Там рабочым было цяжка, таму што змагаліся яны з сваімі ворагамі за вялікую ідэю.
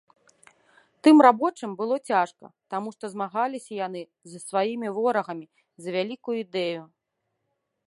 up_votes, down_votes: 0, 2